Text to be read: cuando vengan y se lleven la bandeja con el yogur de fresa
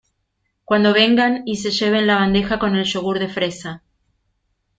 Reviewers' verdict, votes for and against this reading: accepted, 2, 0